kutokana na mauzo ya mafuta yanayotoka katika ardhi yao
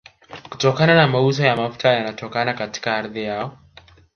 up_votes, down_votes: 4, 1